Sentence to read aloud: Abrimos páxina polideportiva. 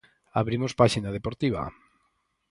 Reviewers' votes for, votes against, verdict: 2, 4, rejected